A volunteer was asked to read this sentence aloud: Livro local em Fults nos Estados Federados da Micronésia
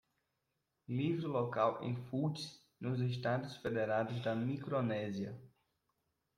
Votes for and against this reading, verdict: 0, 2, rejected